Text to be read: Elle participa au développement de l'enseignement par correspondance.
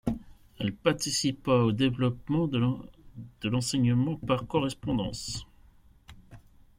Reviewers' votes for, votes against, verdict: 1, 2, rejected